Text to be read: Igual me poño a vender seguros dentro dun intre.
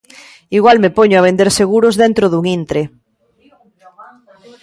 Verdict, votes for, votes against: rejected, 0, 2